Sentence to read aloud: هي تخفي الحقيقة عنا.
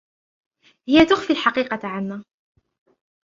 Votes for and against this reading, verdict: 2, 0, accepted